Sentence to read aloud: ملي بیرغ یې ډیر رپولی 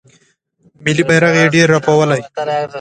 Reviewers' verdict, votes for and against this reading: accepted, 2, 1